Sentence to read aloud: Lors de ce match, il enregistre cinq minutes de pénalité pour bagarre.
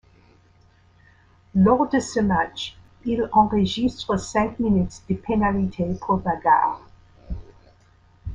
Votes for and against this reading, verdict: 1, 2, rejected